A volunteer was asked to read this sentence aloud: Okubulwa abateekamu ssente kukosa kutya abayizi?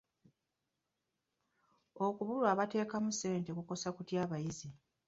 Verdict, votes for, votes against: accepted, 2, 0